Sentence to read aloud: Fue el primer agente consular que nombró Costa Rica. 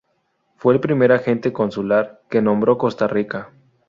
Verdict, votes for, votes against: accepted, 2, 0